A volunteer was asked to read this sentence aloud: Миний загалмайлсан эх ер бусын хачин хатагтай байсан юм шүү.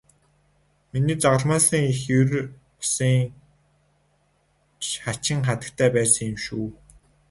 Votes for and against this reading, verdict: 2, 4, rejected